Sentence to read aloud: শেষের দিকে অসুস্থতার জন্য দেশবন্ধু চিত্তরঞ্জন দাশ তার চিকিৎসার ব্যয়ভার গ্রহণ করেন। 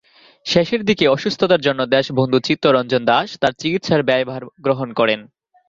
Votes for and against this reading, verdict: 2, 0, accepted